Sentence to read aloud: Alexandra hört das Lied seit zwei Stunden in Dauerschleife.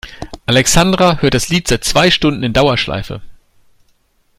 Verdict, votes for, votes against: accepted, 2, 0